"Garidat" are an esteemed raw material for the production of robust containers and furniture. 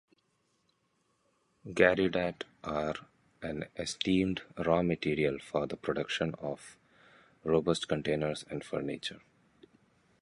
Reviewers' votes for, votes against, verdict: 2, 0, accepted